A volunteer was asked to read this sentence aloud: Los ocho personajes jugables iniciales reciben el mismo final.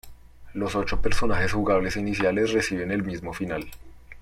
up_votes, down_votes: 1, 2